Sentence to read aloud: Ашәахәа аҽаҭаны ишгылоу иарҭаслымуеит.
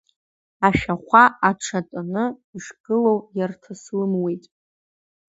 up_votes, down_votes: 0, 2